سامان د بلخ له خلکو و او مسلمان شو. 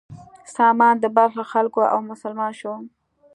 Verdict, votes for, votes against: accepted, 2, 0